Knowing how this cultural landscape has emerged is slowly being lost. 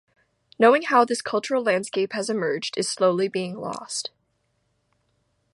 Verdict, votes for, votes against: accepted, 2, 0